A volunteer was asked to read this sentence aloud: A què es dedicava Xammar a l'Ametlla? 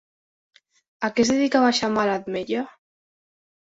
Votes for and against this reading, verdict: 0, 3, rejected